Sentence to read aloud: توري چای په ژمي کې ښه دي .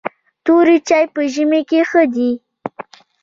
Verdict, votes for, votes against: accepted, 2, 0